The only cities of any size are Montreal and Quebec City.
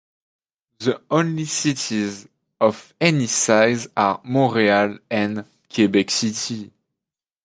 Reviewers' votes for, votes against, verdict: 2, 0, accepted